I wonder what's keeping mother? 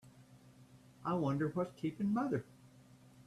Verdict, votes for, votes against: rejected, 1, 2